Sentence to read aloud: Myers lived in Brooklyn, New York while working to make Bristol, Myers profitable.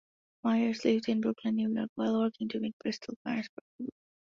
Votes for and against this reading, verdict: 0, 2, rejected